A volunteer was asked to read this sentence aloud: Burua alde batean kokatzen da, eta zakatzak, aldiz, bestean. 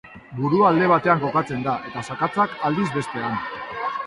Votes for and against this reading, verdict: 2, 0, accepted